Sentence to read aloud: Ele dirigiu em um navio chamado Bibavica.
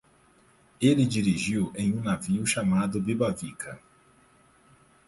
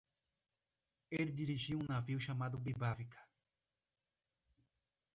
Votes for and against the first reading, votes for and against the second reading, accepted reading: 4, 0, 1, 2, first